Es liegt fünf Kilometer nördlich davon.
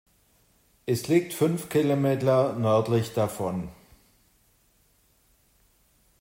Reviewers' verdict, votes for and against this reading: rejected, 1, 2